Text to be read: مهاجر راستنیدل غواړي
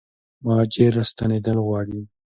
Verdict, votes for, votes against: accepted, 2, 0